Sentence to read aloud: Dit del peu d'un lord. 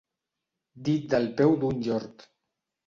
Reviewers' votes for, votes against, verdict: 0, 2, rejected